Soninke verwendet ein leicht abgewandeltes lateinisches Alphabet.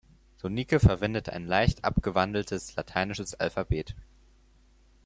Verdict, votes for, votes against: rejected, 2, 6